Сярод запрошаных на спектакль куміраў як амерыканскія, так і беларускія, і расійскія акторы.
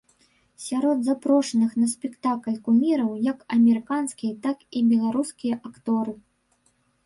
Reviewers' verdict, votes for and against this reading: rejected, 0, 2